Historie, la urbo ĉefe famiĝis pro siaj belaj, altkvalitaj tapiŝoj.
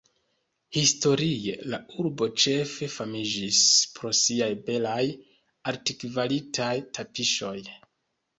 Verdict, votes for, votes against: rejected, 1, 2